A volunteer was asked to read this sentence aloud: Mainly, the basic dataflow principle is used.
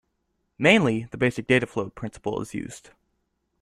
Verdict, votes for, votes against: accepted, 2, 0